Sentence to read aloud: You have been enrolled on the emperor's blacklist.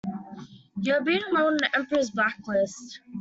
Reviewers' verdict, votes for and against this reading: rejected, 1, 2